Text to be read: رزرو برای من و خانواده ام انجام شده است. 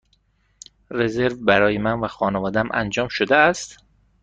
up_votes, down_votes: 1, 2